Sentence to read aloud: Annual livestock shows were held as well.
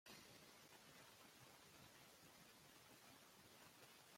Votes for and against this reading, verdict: 0, 2, rejected